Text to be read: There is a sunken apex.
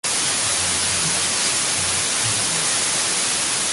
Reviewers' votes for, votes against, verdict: 0, 2, rejected